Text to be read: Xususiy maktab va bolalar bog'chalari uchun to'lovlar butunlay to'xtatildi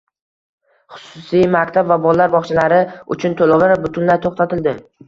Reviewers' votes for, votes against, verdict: 1, 2, rejected